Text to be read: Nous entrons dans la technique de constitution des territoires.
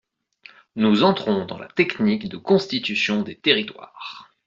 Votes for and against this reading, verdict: 2, 0, accepted